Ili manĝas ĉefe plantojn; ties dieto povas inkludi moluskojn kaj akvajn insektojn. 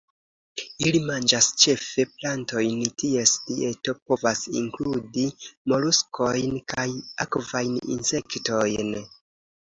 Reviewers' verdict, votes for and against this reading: accepted, 2, 0